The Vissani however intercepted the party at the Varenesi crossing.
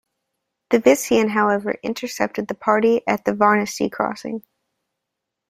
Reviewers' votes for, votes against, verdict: 2, 0, accepted